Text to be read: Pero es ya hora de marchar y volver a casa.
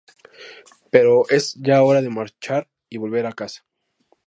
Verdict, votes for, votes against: accepted, 2, 0